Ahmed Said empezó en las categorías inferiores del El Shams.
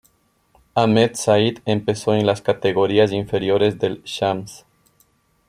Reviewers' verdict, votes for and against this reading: accepted, 2, 0